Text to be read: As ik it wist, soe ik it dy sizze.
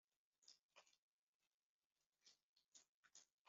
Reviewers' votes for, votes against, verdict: 0, 2, rejected